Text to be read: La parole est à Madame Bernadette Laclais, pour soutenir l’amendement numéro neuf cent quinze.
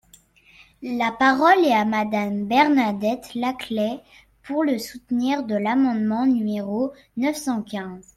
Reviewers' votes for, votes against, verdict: 0, 2, rejected